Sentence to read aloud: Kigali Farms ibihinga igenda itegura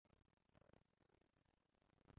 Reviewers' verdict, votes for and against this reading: rejected, 0, 2